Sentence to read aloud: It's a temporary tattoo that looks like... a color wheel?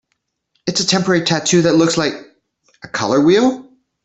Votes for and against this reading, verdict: 2, 0, accepted